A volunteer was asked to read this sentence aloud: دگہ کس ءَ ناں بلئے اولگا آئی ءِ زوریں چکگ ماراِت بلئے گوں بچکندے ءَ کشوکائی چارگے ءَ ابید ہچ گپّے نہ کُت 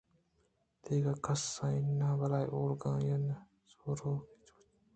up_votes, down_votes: 0, 3